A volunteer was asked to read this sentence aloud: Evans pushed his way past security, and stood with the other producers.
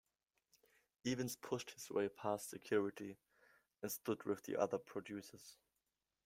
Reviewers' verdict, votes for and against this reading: accepted, 2, 0